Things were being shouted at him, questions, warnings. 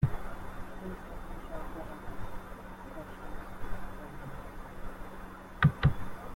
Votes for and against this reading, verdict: 0, 2, rejected